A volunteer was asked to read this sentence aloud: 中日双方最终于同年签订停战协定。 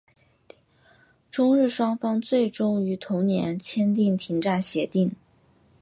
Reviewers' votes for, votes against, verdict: 2, 0, accepted